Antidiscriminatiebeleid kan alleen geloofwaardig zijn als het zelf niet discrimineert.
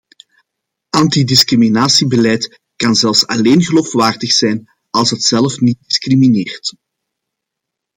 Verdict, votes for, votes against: rejected, 0, 2